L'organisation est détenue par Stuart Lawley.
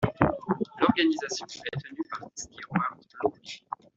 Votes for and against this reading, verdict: 0, 2, rejected